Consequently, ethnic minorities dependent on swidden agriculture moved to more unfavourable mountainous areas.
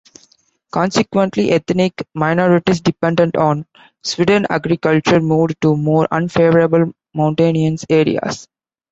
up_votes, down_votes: 2, 1